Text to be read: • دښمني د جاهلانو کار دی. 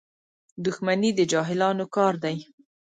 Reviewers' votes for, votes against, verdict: 2, 0, accepted